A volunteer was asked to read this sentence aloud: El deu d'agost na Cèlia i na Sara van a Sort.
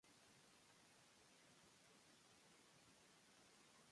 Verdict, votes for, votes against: rejected, 0, 2